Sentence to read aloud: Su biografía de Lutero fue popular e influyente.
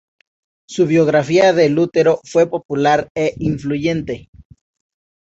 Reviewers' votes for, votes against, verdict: 2, 0, accepted